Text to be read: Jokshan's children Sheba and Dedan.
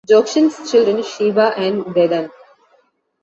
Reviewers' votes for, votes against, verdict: 2, 0, accepted